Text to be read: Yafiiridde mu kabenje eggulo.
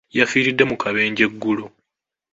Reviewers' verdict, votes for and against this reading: accepted, 2, 0